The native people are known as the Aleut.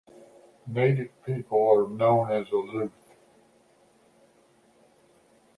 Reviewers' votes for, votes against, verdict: 2, 1, accepted